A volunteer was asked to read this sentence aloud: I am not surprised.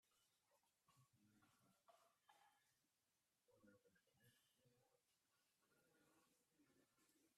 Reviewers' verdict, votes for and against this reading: rejected, 0, 2